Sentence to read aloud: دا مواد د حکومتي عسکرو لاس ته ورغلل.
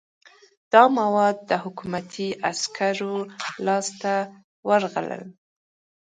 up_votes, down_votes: 2, 0